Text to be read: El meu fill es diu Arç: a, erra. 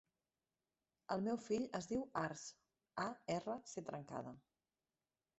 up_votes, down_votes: 0, 2